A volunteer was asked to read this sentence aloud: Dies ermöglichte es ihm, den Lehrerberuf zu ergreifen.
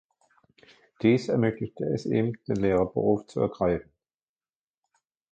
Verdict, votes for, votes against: rejected, 1, 2